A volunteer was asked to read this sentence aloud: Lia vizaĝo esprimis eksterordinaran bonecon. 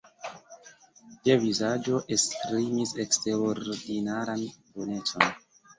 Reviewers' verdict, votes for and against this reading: rejected, 1, 2